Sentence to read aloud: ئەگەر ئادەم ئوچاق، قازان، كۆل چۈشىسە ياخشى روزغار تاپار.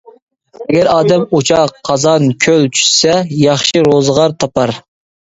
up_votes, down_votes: 0, 2